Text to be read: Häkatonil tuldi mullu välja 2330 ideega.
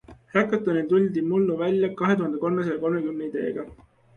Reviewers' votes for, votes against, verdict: 0, 2, rejected